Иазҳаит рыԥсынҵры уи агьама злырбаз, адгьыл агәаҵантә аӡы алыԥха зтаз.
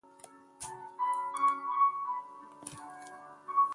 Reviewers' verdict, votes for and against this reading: rejected, 0, 2